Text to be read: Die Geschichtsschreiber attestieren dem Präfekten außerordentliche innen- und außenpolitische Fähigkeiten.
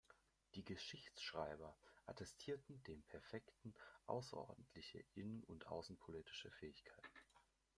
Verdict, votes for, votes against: rejected, 1, 2